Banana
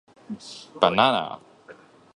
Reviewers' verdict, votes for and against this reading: accepted, 2, 0